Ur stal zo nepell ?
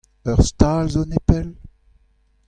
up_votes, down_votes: 2, 0